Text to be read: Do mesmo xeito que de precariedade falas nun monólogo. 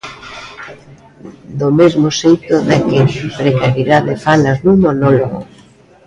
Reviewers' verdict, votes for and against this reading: rejected, 0, 2